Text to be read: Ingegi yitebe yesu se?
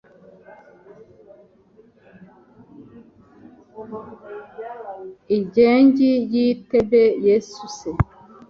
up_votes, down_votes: 1, 2